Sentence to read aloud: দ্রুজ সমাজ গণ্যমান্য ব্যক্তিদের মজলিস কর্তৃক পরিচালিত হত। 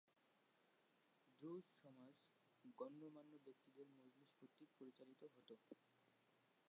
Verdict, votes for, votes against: rejected, 0, 2